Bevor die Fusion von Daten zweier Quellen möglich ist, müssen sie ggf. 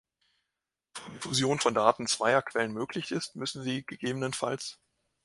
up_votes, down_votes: 0, 2